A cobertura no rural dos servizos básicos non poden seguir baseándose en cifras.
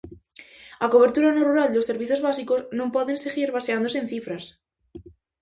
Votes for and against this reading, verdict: 2, 0, accepted